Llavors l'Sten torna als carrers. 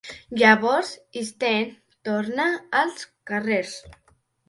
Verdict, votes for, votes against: rejected, 2, 3